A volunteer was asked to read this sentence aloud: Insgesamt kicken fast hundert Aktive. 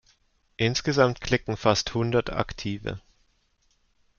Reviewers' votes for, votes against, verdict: 0, 2, rejected